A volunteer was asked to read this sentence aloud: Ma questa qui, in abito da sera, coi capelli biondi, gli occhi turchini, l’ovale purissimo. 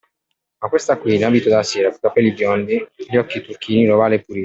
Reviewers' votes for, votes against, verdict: 1, 2, rejected